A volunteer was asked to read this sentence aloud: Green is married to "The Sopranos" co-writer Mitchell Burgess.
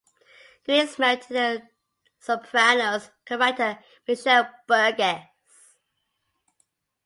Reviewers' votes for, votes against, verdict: 2, 0, accepted